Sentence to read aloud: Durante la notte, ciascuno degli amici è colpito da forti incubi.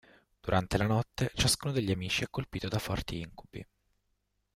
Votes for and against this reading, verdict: 2, 0, accepted